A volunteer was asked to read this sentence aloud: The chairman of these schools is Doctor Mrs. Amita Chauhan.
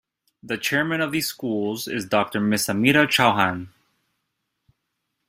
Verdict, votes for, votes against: rejected, 1, 3